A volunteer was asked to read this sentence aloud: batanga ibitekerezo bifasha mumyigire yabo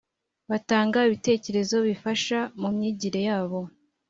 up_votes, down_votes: 2, 0